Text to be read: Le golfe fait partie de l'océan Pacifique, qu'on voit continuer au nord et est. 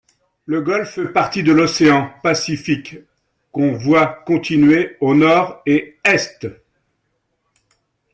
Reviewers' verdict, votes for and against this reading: rejected, 1, 2